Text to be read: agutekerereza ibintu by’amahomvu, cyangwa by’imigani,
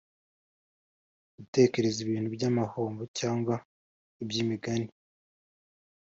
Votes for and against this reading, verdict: 2, 0, accepted